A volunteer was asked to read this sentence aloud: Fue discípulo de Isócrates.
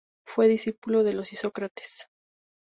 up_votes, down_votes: 0, 2